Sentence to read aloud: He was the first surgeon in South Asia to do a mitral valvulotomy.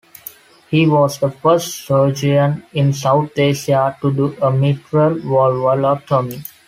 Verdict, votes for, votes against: rejected, 0, 2